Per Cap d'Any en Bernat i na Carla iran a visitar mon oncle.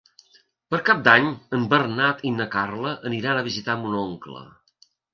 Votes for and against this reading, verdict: 1, 2, rejected